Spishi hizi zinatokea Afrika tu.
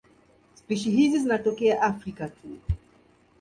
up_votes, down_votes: 2, 0